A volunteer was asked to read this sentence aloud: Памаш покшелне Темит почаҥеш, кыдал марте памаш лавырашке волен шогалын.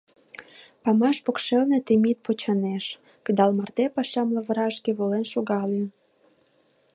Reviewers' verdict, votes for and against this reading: rejected, 1, 2